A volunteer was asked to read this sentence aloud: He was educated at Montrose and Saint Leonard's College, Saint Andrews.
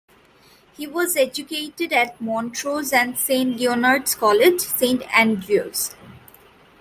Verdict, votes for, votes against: accepted, 2, 1